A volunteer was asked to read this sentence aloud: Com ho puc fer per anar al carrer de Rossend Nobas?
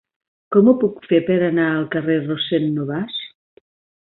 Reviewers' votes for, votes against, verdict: 2, 1, accepted